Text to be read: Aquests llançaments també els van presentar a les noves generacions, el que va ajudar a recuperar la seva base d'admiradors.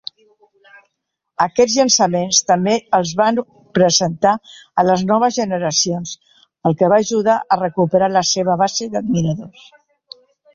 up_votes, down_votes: 3, 0